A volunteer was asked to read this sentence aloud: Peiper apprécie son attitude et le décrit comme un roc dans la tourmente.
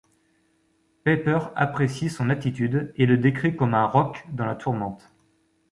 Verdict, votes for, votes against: accepted, 2, 0